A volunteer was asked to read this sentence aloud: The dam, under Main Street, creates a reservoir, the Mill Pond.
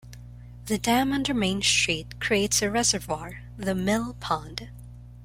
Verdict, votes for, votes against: accepted, 2, 0